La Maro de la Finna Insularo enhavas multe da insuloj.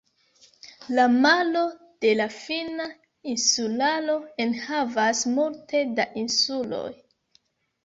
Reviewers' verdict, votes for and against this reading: rejected, 1, 2